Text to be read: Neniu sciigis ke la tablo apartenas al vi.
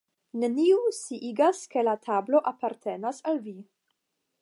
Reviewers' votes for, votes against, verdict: 5, 5, rejected